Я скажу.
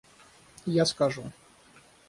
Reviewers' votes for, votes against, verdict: 3, 3, rejected